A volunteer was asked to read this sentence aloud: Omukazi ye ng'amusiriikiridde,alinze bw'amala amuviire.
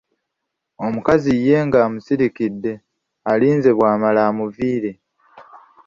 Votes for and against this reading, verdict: 0, 2, rejected